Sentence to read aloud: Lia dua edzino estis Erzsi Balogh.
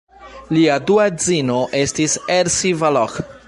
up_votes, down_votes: 0, 2